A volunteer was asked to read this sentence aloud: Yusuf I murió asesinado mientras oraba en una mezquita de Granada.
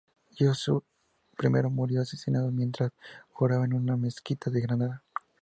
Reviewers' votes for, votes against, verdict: 2, 0, accepted